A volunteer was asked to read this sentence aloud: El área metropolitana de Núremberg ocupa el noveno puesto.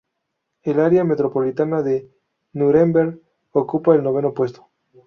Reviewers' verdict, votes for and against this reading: rejected, 0, 2